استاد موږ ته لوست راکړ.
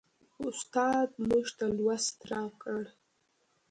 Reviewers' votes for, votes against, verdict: 1, 2, rejected